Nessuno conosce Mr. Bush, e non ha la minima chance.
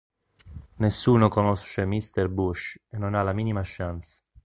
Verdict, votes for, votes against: rejected, 0, 2